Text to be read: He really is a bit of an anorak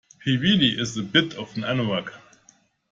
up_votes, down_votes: 2, 0